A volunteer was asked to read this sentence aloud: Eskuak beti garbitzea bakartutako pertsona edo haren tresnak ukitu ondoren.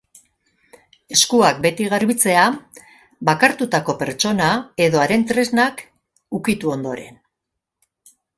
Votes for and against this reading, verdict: 2, 0, accepted